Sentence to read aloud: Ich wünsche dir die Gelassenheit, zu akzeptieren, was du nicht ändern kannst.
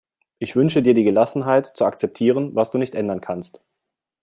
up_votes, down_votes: 2, 0